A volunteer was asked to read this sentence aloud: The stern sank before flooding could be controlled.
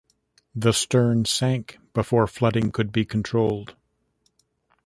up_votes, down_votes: 2, 0